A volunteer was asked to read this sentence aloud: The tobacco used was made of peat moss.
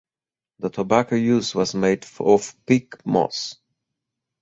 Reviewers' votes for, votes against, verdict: 2, 4, rejected